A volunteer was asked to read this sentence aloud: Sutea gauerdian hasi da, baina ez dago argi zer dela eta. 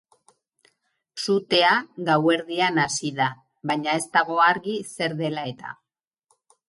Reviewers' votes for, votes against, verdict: 0, 2, rejected